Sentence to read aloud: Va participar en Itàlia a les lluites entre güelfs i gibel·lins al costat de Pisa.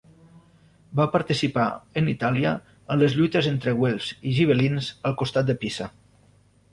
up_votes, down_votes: 0, 2